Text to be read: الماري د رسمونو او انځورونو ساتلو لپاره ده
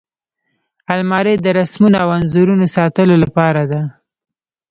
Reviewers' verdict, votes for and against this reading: rejected, 1, 2